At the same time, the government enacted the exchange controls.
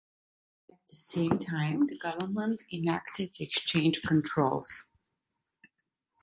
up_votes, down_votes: 0, 2